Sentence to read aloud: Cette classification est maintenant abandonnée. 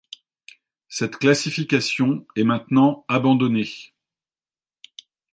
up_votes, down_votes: 2, 0